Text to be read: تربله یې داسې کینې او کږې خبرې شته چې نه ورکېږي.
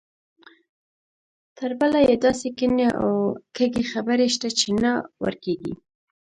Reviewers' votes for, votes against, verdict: 2, 1, accepted